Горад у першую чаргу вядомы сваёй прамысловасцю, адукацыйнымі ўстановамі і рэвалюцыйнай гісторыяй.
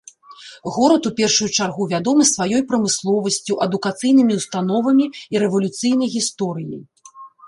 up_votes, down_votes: 2, 0